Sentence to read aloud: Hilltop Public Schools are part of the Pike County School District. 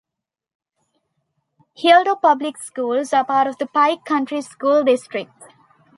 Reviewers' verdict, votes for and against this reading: rejected, 0, 2